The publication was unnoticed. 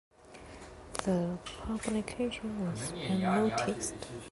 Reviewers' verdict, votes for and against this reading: rejected, 1, 2